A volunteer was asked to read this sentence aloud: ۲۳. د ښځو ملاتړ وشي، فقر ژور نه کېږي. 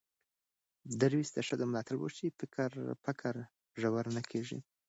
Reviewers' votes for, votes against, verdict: 0, 2, rejected